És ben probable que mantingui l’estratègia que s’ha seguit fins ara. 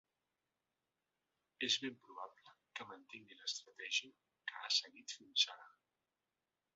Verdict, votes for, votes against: accepted, 2, 0